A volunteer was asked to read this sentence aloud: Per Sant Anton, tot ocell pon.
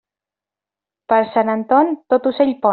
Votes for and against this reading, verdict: 1, 2, rejected